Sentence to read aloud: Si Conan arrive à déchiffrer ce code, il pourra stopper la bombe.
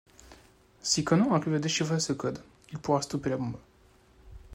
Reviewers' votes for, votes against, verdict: 2, 0, accepted